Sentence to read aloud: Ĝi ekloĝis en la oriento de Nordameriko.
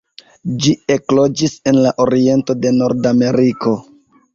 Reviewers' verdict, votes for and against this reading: rejected, 1, 2